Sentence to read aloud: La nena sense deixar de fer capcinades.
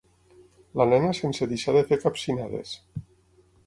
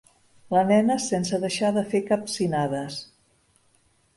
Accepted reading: second